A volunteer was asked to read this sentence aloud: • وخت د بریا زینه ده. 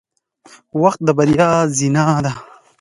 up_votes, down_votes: 2, 0